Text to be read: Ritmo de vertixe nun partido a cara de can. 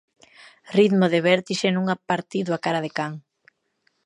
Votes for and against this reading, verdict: 0, 2, rejected